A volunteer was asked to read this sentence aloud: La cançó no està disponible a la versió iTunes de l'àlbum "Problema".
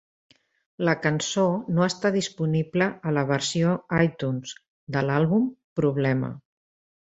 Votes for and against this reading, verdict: 3, 0, accepted